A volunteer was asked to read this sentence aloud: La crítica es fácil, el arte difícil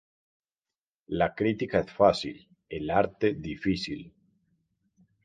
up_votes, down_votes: 2, 0